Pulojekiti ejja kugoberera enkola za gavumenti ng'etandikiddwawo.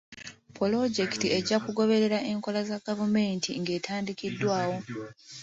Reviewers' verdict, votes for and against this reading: accepted, 2, 0